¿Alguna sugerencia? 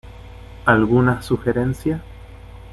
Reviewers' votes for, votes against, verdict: 2, 0, accepted